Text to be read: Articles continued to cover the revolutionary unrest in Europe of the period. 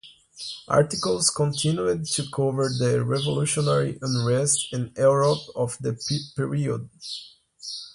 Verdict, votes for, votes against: rejected, 1, 2